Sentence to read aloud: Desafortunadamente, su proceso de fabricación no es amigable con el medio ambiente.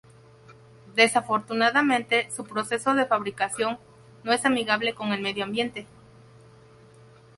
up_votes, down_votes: 2, 2